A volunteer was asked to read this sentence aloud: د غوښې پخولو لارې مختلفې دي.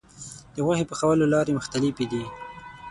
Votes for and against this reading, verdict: 3, 6, rejected